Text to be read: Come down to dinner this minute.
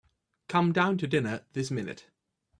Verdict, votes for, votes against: accepted, 3, 0